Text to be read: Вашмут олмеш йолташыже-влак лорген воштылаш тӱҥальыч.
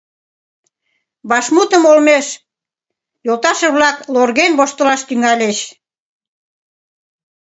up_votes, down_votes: 0, 2